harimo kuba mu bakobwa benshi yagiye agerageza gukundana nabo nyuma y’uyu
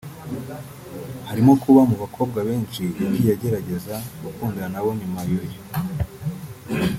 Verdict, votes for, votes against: rejected, 0, 2